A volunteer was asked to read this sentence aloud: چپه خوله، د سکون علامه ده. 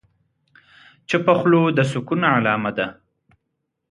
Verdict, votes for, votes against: accepted, 2, 1